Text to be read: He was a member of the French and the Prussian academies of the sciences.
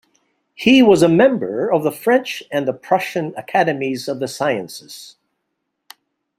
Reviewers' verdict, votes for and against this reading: accepted, 2, 0